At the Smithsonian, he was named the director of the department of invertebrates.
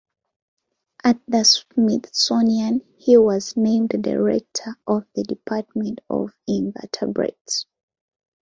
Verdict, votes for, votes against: accepted, 2, 0